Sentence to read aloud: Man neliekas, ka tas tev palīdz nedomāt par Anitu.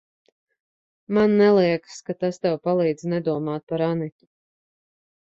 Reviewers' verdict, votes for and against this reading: accepted, 2, 0